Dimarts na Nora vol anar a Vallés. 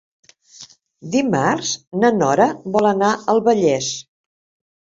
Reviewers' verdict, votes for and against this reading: rejected, 0, 2